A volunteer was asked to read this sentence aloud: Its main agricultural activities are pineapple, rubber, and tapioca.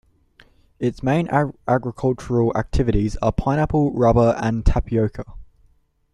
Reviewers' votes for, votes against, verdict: 1, 2, rejected